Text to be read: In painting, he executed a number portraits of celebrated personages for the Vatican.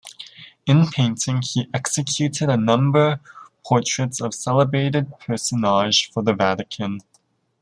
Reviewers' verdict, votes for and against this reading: accepted, 2, 1